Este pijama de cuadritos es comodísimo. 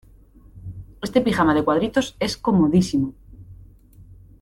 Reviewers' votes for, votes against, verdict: 2, 0, accepted